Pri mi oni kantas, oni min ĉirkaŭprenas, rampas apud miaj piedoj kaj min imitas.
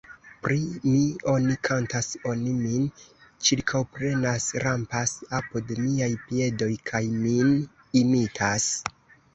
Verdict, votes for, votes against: rejected, 1, 2